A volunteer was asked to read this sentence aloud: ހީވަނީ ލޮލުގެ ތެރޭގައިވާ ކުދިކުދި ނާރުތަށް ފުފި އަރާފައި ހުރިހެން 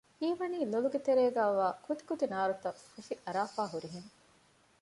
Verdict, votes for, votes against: accepted, 2, 0